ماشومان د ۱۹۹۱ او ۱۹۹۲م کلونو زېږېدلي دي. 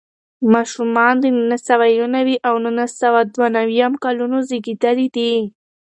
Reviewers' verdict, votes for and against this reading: rejected, 0, 2